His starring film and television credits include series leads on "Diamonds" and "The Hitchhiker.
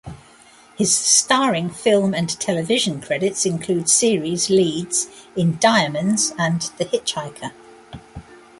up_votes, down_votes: 0, 2